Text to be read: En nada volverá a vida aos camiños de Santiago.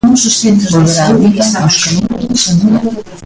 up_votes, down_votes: 0, 2